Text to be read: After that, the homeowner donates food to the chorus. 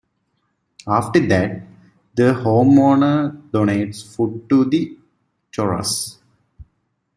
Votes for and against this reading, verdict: 0, 2, rejected